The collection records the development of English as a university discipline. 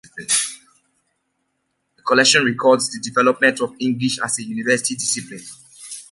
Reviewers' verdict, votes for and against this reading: accepted, 2, 0